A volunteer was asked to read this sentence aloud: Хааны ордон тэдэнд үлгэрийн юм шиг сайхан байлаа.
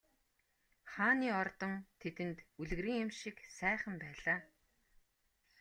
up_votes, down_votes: 2, 0